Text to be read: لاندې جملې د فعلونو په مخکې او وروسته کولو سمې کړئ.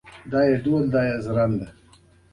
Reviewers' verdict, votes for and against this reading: rejected, 0, 2